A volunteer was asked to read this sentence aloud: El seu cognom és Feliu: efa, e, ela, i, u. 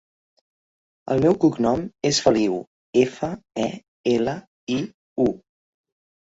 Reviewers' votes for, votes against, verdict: 0, 2, rejected